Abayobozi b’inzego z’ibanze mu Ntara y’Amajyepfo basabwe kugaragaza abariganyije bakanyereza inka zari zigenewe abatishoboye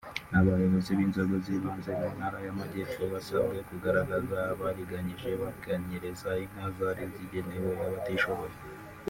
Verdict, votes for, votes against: rejected, 0, 2